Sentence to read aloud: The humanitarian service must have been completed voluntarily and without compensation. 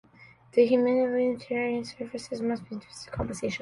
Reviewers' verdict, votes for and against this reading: rejected, 0, 2